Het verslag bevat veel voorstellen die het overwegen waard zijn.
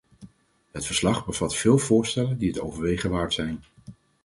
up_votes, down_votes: 4, 0